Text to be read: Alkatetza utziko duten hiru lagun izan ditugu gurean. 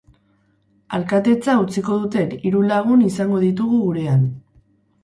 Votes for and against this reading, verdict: 2, 4, rejected